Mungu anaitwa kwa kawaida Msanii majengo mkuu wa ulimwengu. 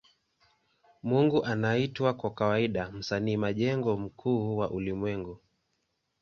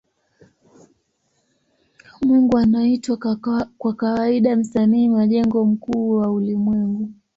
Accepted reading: first